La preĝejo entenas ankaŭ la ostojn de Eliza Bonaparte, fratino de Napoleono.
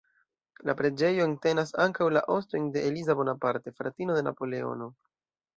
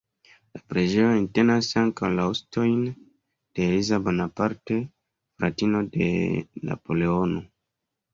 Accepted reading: second